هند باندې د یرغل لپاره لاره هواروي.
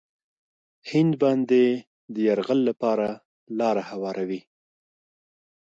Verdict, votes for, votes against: accepted, 2, 0